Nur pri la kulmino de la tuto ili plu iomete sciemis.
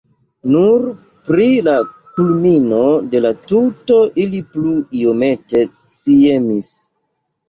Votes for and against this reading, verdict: 1, 2, rejected